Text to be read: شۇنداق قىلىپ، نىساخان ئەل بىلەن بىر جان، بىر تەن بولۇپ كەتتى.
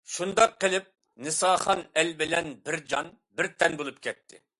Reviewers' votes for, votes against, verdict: 2, 0, accepted